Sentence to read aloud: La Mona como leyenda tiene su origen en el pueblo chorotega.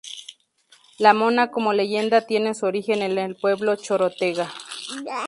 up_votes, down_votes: 2, 0